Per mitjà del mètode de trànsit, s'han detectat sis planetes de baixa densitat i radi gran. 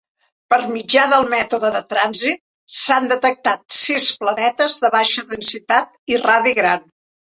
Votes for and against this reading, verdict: 3, 0, accepted